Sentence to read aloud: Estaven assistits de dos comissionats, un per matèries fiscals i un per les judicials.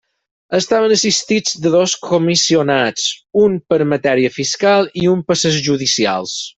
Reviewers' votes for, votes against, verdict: 0, 4, rejected